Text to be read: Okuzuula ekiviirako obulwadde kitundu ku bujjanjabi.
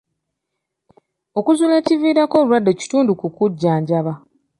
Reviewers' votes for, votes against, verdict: 1, 2, rejected